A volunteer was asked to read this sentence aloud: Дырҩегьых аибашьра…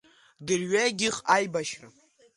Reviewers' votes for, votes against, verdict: 2, 1, accepted